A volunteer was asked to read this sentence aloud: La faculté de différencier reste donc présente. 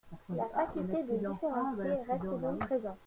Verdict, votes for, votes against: rejected, 0, 2